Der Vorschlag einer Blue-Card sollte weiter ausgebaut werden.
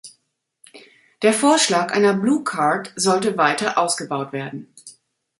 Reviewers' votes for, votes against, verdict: 2, 0, accepted